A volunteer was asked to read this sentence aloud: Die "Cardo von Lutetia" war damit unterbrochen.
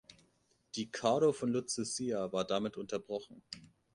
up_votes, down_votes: 0, 2